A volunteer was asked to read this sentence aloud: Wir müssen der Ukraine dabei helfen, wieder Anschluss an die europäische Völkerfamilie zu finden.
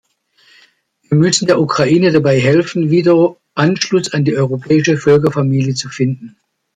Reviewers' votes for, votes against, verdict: 1, 2, rejected